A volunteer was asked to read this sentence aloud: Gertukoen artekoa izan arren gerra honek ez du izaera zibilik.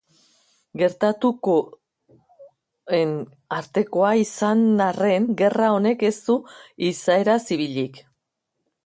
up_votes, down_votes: 1, 2